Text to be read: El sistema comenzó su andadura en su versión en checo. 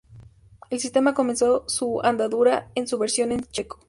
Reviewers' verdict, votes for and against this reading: accepted, 2, 0